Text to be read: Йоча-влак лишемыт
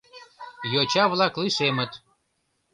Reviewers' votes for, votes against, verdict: 1, 2, rejected